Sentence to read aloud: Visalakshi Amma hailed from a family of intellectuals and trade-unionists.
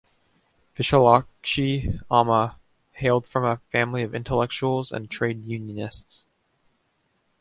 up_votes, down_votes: 2, 0